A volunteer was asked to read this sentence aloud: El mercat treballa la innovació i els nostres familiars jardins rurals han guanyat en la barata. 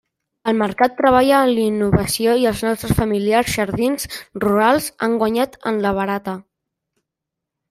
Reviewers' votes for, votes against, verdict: 1, 2, rejected